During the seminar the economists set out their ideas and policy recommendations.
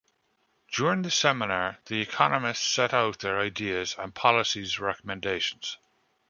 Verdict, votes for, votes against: rejected, 1, 2